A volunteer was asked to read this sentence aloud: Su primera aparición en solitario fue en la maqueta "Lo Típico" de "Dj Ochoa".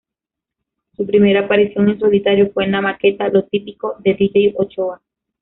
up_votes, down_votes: 1, 2